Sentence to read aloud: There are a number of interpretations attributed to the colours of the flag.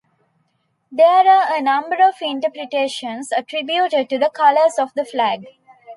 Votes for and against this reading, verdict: 2, 0, accepted